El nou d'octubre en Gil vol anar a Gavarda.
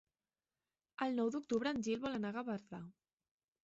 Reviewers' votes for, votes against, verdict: 1, 2, rejected